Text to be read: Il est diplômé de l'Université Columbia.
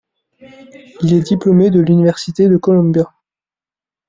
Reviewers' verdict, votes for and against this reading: rejected, 0, 2